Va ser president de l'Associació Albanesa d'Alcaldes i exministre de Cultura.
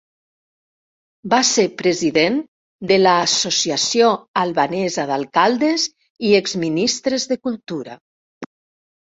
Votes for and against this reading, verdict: 2, 3, rejected